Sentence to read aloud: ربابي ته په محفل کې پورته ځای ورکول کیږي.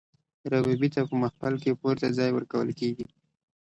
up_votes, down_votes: 2, 0